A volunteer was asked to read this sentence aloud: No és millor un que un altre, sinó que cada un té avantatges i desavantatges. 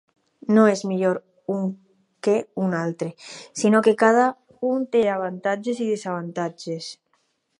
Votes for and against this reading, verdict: 4, 0, accepted